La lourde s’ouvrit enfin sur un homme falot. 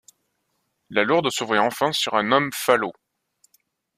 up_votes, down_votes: 2, 0